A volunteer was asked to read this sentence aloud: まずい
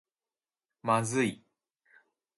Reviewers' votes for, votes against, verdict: 1, 2, rejected